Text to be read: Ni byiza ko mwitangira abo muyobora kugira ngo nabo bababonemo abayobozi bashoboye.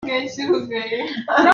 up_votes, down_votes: 0, 2